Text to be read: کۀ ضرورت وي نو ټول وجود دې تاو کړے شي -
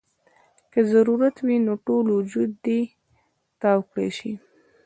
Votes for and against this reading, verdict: 1, 2, rejected